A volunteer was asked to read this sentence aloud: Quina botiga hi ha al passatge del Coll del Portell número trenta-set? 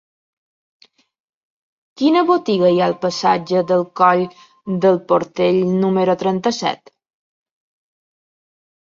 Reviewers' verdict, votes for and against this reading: accepted, 3, 0